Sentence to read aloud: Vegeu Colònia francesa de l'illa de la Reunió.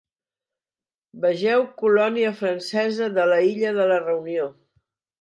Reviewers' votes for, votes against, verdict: 0, 2, rejected